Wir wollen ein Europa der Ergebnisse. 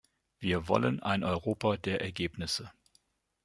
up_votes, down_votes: 2, 0